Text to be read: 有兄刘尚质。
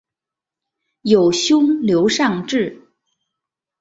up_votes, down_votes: 2, 0